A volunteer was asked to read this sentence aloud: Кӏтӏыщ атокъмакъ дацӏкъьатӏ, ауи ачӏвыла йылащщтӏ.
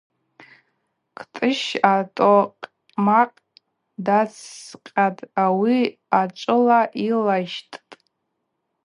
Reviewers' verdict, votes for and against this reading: accepted, 2, 0